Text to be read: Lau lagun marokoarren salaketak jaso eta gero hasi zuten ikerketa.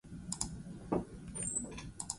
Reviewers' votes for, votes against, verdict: 0, 6, rejected